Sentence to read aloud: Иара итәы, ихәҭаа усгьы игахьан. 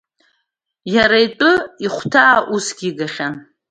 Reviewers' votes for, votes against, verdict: 1, 2, rejected